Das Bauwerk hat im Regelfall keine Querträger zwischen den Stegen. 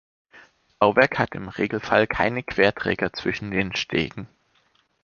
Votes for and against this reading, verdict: 0, 2, rejected